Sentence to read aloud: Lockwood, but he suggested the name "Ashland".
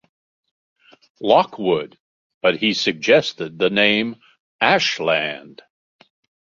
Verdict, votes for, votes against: accepted, 3, 0